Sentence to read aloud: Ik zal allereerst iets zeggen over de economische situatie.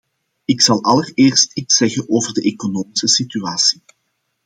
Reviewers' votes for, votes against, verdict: 2, 0, accepted